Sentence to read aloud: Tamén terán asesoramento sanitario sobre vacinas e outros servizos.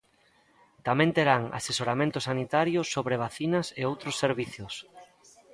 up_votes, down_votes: 2, 1